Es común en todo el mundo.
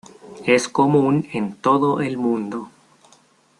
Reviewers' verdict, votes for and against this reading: accepted, 2, 0